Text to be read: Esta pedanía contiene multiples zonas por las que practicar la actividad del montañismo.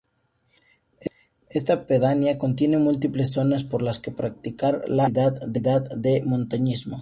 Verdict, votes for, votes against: rejected, 0, 2